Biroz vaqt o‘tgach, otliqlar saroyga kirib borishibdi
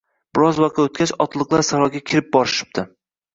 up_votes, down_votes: 2, 0